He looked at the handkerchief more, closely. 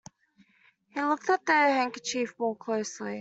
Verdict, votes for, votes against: rejected, 1, 2